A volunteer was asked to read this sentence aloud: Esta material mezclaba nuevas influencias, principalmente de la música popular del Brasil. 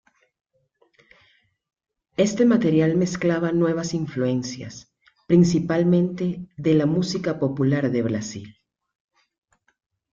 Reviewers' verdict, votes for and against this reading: rejected, 2, 3